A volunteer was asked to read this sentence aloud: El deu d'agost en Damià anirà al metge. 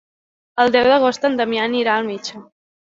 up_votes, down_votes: 3, 0